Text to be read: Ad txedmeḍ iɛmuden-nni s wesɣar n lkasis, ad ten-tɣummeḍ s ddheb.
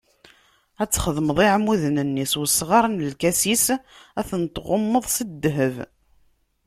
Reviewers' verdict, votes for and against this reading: accepted, 2, 0